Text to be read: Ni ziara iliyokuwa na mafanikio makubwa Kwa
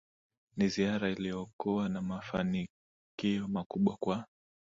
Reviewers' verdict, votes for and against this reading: accepted, 2, 0